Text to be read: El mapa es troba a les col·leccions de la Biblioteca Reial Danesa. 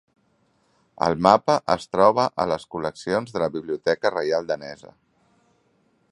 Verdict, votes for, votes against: rejected, 1, 2